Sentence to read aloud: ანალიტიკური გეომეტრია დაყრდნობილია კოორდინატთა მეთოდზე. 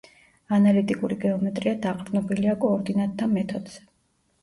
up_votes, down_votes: 2, 0